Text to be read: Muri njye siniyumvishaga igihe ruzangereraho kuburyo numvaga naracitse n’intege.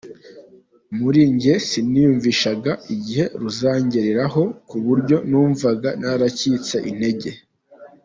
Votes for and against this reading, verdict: 2, 0, accepted